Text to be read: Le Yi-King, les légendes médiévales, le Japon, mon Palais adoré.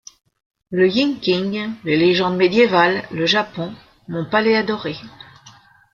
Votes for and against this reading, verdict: 0, 2, rejected